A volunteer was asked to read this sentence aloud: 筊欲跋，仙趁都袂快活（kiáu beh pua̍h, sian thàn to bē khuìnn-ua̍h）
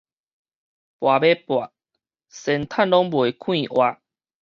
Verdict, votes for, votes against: rejected, 2, 4